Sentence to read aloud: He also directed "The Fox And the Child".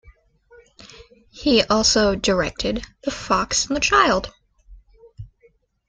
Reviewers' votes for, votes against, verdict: 2, 0, accepted